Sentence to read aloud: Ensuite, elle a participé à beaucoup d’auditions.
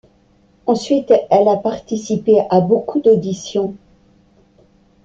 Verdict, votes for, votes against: accepted, 2, 0